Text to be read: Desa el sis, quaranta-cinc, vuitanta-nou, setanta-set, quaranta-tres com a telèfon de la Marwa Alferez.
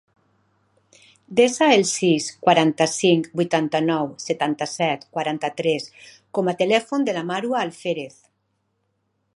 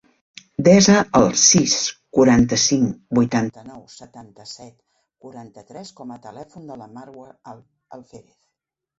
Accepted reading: first